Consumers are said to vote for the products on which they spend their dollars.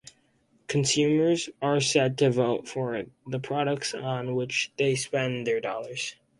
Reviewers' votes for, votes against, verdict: 4, 2, accepted